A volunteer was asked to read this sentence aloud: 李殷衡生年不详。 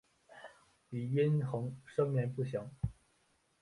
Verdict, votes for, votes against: accepted, 2, 0